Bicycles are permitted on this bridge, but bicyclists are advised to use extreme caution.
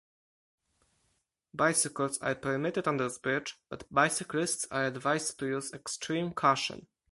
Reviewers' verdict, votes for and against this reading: accepted, 4, 0